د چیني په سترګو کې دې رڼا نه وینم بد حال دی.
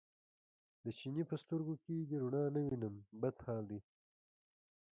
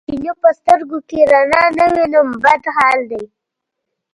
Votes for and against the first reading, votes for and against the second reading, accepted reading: 2, 1, 1, 2, first